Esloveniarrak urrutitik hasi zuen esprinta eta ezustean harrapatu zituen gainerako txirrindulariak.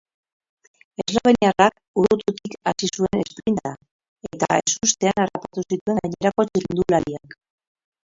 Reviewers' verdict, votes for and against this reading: rejected, 0, 2